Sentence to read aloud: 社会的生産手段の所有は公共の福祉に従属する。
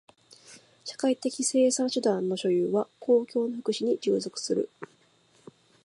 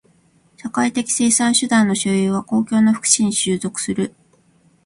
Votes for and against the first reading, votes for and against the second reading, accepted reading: 2, 0, 0, 2, first